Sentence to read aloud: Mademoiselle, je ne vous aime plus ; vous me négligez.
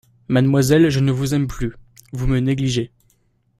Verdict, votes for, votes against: accepted, 2, 0